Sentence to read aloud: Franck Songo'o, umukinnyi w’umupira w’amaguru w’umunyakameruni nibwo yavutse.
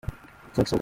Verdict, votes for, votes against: rejected, 0, 2